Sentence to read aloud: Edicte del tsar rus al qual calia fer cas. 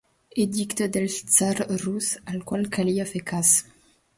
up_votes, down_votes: 3, 0